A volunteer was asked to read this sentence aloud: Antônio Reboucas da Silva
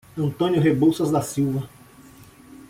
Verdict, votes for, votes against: accepted, 2, 1